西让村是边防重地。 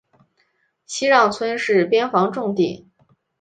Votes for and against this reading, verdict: 0, 2, rejected